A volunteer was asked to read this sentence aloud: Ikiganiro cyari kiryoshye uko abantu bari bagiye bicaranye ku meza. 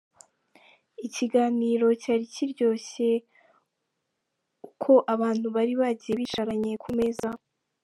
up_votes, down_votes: 2, 0